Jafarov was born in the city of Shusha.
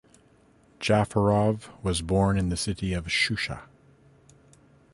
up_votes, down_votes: 2, 0